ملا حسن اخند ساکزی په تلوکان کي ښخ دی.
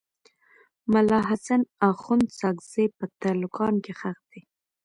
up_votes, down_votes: 1, 2